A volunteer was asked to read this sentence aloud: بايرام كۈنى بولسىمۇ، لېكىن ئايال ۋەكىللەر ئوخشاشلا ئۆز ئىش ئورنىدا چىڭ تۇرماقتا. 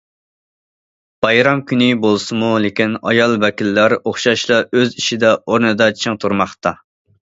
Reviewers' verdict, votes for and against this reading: rejected, 0, 2